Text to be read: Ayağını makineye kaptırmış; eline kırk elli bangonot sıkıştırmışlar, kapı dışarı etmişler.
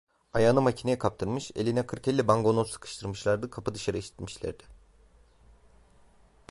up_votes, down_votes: 0, 2